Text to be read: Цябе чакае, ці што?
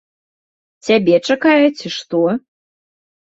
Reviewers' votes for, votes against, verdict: 2, 0, accepted